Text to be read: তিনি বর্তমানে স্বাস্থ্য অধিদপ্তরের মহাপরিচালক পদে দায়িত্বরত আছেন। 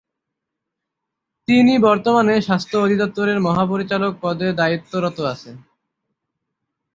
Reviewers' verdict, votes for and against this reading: accepted, 3, 0